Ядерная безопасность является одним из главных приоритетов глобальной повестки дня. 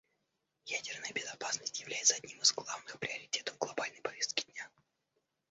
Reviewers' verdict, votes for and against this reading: rejected, 1, 2